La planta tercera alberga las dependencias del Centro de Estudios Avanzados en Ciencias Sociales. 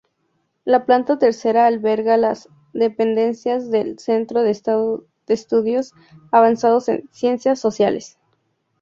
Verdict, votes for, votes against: rejected, 0, 2